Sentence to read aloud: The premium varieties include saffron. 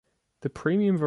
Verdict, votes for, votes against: rejected, 0, 2